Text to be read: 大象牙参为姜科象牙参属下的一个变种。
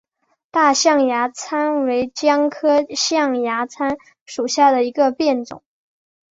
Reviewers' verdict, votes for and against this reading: accepted, 2, 0